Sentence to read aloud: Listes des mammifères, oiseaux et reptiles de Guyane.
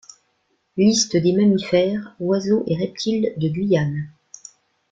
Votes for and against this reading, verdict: 2, 0, accepted